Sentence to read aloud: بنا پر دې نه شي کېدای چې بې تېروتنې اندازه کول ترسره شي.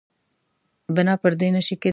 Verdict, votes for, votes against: rejected, 1, 2